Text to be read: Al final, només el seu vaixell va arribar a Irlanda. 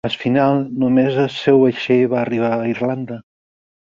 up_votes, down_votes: 0, 4